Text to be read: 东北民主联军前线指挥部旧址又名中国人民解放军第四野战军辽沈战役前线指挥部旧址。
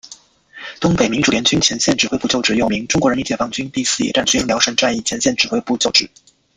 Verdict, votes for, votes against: rejected, 1, 2